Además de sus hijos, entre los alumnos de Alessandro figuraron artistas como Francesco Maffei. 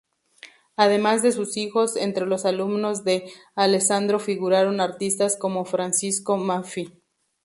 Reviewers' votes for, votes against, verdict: 2, 0, accepted